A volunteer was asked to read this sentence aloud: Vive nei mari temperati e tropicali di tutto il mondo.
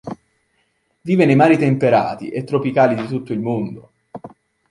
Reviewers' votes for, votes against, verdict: 2, 3, rejected